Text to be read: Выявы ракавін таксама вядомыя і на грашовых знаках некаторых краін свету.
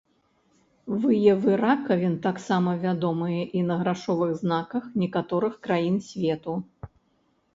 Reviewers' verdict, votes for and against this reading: rejected, 1, 2